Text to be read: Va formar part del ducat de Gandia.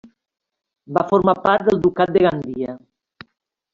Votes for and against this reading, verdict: 3, 0, accepted